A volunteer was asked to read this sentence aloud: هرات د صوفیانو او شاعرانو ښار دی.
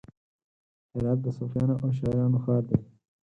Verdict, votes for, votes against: accepted, 4, 0